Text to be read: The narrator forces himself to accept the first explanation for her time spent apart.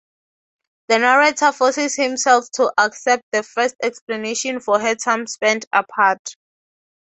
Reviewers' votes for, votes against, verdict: 6, 0, accepted